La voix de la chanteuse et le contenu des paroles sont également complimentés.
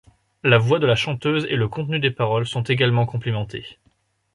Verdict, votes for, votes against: accepted, 2, 0